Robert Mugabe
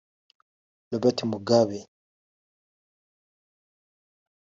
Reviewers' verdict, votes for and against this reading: accepted, 2, 0